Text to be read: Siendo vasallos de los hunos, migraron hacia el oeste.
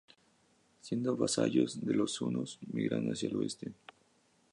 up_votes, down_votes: 2, 2